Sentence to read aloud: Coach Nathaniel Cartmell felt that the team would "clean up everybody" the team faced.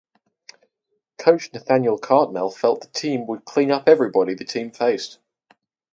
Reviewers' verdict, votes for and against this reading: rejected, 2, 2